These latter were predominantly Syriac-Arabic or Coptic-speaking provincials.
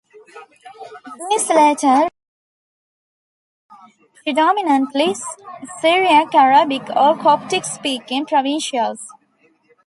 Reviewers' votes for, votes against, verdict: 0, 2, rejected